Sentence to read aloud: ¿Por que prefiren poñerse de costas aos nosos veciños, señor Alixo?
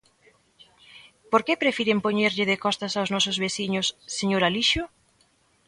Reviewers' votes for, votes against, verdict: 0, 2, rejected